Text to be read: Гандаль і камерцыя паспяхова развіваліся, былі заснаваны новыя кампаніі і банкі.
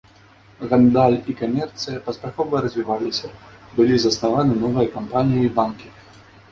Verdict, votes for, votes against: rejected, 0, 2